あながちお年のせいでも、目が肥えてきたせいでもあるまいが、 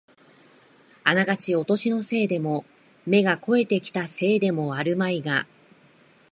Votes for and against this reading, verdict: 2, 0, accepted